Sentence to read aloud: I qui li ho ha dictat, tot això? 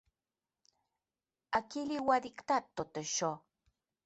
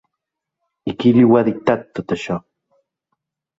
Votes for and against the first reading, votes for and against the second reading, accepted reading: 1, 2, 4, 0, second